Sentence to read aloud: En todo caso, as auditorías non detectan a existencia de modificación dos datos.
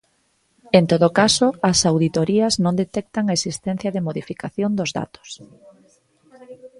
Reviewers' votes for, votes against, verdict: 2, 4, rejected